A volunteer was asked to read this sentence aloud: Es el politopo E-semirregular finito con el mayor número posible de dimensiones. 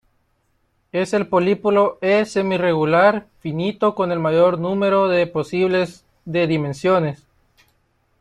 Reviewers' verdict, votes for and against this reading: rejected, 0, 2